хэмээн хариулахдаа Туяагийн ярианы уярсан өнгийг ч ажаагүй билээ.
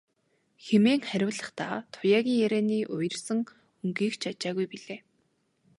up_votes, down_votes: 2, 0